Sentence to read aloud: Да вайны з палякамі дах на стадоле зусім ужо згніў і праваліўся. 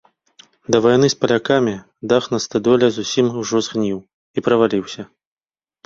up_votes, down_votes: 1, 2